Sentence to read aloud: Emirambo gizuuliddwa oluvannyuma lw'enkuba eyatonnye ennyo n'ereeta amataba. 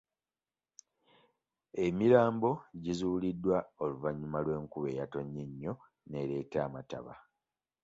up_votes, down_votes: 1, 2